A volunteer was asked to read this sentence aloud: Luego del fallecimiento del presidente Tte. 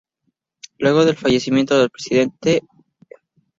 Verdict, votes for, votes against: accepted, 2, 0